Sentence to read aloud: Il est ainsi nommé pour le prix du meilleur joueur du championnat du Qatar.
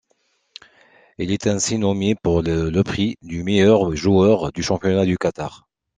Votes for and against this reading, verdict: 2, 0, accepted